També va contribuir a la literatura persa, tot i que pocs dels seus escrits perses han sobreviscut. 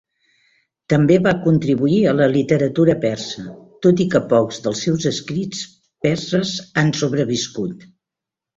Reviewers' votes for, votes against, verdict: 4, 0, accepted